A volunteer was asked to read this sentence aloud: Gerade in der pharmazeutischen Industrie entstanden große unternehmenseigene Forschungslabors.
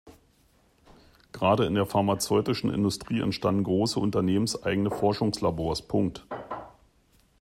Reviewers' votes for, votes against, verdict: 1, 2, rejected